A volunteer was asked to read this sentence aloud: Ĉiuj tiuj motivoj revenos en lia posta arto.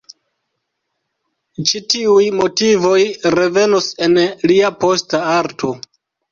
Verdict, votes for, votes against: rejected, 0, 2